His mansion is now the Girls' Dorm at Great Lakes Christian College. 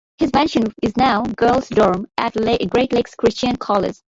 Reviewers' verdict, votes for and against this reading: rejected, 0, 2